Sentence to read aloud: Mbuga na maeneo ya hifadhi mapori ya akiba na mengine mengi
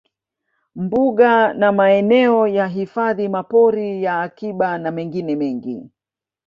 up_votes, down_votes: 2, 0